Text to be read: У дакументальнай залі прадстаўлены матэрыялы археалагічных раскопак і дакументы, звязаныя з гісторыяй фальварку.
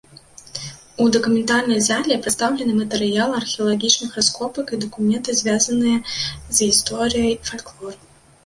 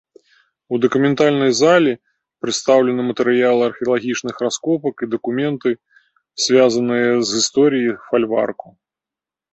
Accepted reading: second